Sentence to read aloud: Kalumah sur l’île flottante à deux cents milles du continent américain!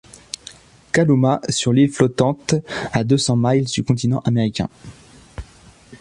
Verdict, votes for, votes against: rejected, 1, 2